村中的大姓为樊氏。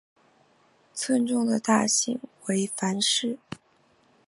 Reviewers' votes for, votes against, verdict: 2, 0, accepted